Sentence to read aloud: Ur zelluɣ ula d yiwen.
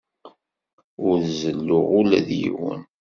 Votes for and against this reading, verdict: 2, 0, accepted